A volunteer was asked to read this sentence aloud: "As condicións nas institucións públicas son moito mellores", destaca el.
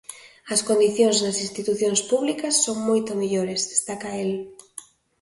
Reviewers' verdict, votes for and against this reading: accepted, 2, 0